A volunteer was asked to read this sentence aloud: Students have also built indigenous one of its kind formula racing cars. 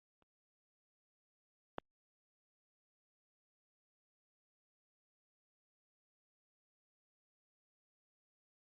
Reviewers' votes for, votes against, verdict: 0, 3, rejected